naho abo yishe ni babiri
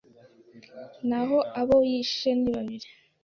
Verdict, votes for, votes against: accepted, 2, 0